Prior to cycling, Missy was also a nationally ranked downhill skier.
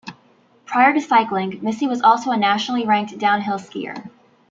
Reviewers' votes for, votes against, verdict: 1, 2, rejected